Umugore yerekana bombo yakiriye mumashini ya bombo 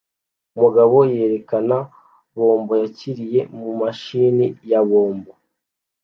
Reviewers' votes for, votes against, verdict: 1, 2, rejected